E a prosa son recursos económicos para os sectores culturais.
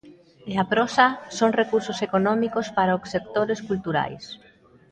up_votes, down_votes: 1, 2